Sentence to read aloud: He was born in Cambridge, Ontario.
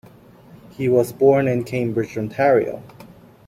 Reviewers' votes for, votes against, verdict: 2, 1, accepted